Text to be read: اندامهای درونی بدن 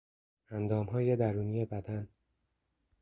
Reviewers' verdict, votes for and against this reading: accepted, 2, 0